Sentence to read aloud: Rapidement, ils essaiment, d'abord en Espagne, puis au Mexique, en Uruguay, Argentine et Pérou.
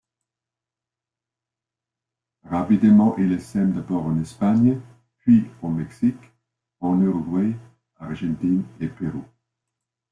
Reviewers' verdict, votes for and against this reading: rejected, 1, 2